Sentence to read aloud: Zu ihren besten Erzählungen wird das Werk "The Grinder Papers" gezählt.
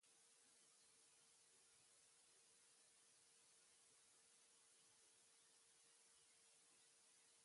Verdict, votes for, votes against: rejected, 0, 2